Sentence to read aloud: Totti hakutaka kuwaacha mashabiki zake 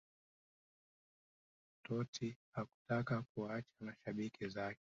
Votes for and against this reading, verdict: 1, 2, rejected